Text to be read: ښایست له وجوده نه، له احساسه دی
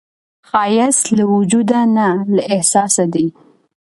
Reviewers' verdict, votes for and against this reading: accepted, 2, 0